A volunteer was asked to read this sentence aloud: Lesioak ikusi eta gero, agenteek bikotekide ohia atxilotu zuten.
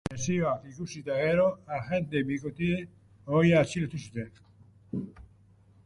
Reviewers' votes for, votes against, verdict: 0, 2, rejected